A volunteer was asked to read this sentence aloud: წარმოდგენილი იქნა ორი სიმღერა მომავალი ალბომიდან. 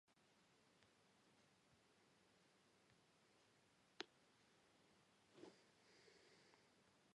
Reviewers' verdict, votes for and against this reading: rejected, 1, 2